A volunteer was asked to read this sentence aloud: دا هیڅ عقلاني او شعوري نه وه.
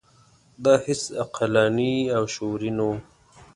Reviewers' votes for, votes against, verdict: 2, 0, accepted